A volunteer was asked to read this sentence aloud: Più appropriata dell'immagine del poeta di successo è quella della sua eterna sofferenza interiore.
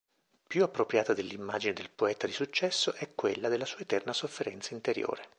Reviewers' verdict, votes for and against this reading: accepted, 2, 0